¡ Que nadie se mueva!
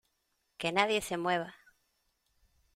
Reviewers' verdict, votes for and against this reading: accepted, 2, 0